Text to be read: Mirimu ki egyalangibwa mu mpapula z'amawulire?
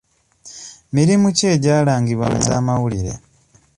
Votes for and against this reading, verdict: 0, 2, rejected